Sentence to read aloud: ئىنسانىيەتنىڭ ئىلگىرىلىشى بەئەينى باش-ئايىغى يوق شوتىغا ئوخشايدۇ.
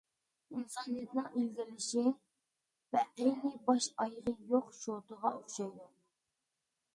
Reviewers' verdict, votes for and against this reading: accepted, 2, 1